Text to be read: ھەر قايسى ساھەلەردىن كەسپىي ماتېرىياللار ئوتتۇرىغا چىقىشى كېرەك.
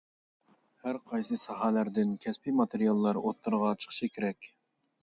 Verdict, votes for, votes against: accepted, 2, 0